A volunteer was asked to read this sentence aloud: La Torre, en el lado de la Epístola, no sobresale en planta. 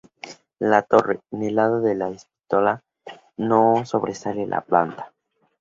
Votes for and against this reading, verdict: 0, 2, rejected